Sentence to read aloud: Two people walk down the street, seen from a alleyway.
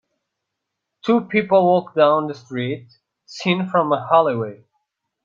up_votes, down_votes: 2, 0